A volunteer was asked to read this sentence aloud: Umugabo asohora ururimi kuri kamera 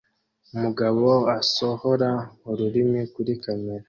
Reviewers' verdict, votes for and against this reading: accepted, 2, 0